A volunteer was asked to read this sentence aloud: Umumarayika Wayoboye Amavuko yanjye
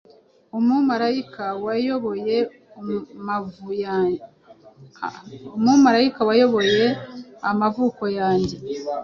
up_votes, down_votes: 1, 2